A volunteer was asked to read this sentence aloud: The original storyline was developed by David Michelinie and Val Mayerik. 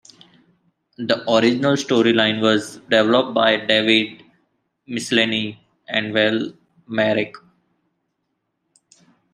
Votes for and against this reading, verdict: 2, 0, accepted